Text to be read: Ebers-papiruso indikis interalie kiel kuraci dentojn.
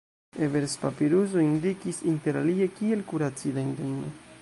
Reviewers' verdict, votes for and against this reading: rejected, 1, 2